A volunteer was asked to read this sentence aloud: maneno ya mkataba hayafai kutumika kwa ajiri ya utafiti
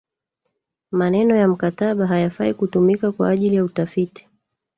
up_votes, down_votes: 0, 2